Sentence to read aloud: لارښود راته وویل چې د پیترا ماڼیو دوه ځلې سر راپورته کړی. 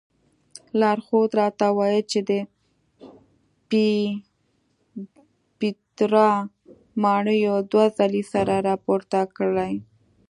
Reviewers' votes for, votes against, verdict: 1, 2, rejected